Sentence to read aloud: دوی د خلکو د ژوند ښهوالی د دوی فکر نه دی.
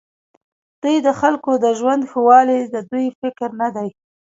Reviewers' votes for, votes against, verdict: 2, 1, accepted